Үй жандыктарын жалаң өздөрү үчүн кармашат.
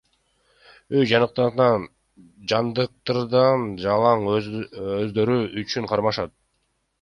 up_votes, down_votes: 1, 2